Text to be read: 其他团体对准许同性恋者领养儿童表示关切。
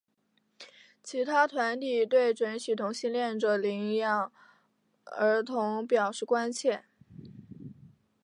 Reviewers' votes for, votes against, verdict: 3, 0, accepted